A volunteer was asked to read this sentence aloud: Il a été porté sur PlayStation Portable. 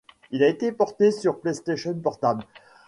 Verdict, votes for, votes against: accepted, 2, 0